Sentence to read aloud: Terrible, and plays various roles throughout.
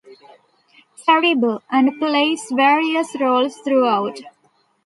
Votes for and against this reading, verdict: 2, 0, accepted